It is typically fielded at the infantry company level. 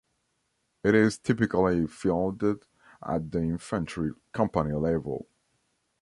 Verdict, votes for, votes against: accepted, 2, 0